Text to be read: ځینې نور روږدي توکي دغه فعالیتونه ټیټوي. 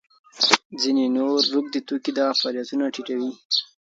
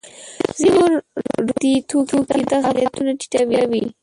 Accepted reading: first